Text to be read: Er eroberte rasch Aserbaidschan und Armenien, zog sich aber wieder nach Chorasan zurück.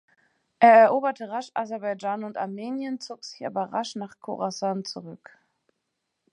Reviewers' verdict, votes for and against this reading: rejected, 1, 2